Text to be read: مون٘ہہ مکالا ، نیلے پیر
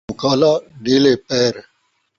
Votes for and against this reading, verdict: 0, 2, rejected